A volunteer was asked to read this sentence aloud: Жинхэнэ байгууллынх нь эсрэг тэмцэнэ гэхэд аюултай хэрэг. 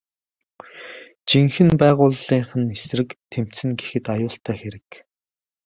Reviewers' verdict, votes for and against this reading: accepted, 2, 0